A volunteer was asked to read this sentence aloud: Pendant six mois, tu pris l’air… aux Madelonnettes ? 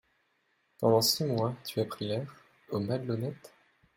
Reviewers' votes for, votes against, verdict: 0, 2, rejected